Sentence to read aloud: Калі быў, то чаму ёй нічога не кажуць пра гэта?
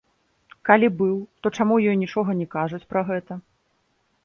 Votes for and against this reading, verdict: 1, 2, rejected